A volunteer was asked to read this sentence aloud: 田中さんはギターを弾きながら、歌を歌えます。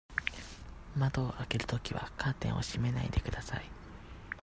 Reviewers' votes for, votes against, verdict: 0, 2, rejected